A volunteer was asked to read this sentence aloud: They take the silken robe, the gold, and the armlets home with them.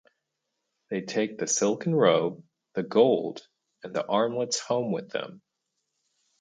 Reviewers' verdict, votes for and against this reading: accepted, 4, 0